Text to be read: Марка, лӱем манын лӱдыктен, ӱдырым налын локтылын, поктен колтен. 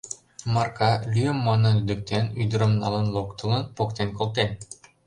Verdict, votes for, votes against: rejected, 0, 2